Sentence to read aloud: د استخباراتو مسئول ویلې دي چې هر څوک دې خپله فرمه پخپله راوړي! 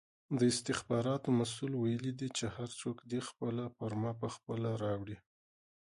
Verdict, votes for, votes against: rejected, 1, 2